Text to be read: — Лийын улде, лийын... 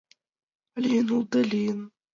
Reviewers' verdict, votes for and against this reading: accepted, 2, 1